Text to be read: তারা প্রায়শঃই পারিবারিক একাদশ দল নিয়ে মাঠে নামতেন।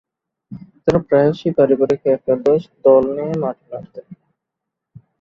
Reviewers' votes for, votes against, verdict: 12, 5, accepted